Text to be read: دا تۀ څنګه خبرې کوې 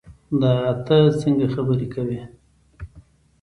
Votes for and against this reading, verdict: 2, 0, accepted